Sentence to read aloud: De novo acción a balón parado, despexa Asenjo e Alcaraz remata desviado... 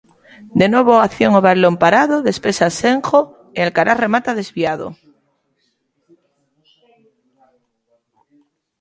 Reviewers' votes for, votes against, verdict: 1, 2, rejected